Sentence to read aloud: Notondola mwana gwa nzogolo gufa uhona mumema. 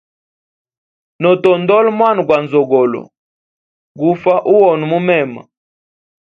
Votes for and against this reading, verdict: 2, 0, accepted